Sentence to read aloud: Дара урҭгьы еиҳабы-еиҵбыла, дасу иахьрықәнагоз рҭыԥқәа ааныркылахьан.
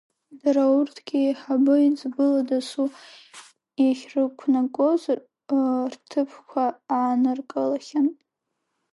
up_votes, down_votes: 0, 2